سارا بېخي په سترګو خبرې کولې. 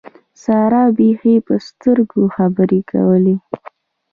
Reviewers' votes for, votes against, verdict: 1, 2, rejected